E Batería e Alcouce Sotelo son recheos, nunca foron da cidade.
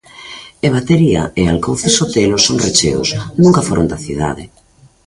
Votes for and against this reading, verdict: 0, 2, rejected